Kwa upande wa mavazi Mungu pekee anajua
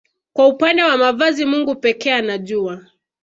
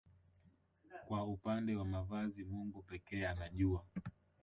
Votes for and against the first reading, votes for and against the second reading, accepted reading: 2, 0, 0, 2, first